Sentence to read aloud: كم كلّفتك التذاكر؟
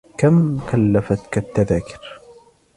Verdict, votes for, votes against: accepted, 2, 0